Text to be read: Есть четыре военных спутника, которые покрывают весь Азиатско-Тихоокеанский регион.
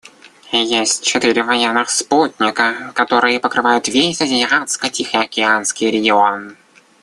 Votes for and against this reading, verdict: 1, 2, rejected